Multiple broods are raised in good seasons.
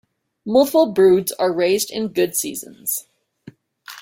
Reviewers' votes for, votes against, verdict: 1, 2, rejected